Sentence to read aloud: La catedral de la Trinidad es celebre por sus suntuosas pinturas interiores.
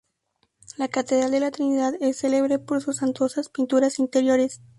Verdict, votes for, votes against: rejected, 0, 2